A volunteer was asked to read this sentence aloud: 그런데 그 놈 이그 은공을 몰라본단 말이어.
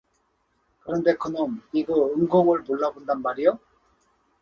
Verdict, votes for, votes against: accepted, 4, 0